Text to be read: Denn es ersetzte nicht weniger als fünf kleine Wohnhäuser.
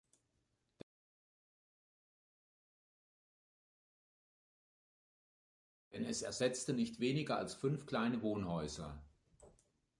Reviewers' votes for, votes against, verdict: 2, 0, accepted